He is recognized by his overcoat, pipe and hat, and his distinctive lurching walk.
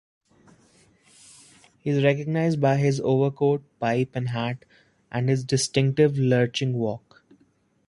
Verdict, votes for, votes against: accepted, 2, 0